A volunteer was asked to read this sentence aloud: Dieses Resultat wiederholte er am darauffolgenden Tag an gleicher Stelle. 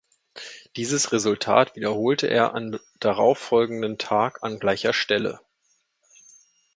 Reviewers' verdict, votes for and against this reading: rejected, 1, 2